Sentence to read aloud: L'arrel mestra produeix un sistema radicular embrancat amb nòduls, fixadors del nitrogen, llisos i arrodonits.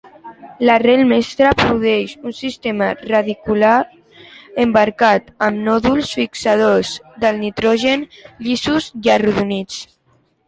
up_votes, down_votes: 0, 3